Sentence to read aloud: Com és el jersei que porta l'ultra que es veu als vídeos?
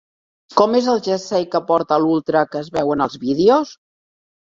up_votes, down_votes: 1, 2